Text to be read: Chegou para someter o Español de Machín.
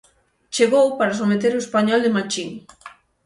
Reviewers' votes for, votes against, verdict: 6, 0, accepted